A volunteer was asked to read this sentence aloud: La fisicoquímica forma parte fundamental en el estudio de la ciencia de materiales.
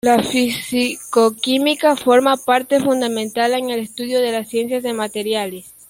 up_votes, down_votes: 2, 0